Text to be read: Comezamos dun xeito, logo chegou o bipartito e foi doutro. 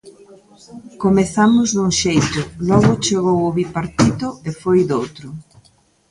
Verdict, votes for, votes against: rejected, 1, 2